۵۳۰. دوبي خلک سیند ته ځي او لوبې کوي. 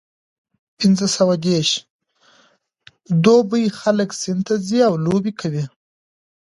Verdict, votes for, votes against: rejected, 0, 2